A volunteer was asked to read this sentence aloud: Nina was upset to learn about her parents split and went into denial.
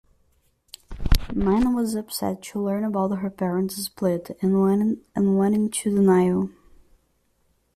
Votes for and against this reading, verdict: 0, 2, rejected